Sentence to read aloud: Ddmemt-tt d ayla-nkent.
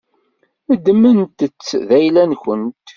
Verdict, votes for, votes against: rejected, 1, 2